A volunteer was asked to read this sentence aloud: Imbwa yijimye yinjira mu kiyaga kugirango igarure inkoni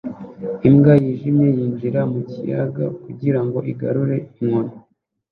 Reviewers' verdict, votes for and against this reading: accepted, 2, 0